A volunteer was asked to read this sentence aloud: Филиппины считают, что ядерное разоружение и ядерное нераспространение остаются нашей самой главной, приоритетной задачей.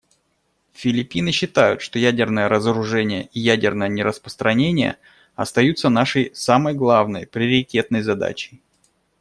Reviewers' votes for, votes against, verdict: 2, 0, accepted